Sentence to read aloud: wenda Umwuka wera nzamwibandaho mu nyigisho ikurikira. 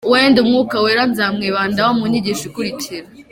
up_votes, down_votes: 2, 0